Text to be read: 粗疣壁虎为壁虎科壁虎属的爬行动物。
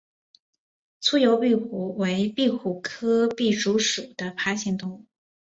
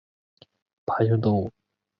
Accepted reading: first